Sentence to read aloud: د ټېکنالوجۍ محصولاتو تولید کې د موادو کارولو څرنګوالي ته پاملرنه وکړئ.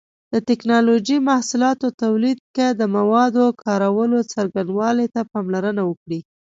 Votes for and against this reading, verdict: 2, 0, accepted